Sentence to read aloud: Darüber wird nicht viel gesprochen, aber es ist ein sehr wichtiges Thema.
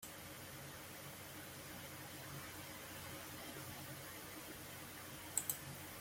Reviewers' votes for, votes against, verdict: 0, 2, rejected